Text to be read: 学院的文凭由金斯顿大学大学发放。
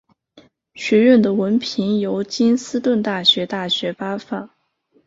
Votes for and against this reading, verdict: 5, 0, accepted